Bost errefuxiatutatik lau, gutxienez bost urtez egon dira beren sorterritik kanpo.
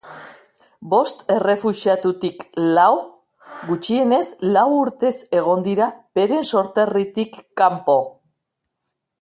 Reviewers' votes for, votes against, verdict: 1, 2, rejected